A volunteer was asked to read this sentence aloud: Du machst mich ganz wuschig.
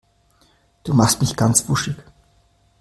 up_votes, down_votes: 2, 0